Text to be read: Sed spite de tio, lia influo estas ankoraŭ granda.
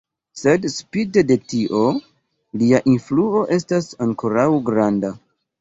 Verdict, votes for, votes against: rejected, 1, 2